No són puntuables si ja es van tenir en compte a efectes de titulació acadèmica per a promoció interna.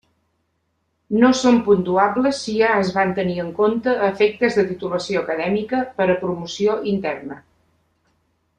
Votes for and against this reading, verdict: 2, 0, accepted